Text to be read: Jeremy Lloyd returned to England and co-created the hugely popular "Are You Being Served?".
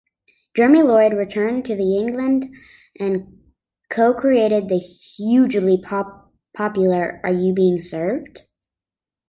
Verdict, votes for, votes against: rejected, 1, 2